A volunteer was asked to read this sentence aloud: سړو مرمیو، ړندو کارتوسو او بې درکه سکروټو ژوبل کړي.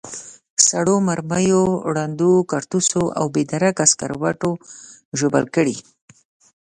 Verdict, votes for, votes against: accepted, 2, 0